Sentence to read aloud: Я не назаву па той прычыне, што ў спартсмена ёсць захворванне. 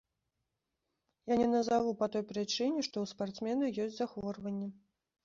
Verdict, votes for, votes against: rejected, 0, 2